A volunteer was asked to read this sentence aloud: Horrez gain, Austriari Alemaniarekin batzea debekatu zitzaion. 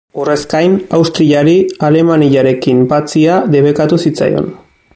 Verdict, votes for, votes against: accepted, 2, 0